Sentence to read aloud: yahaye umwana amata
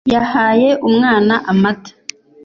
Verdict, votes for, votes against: accepted, 2, 0